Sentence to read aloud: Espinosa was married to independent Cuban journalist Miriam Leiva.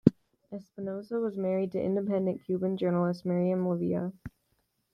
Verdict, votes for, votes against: rejected, 1, 2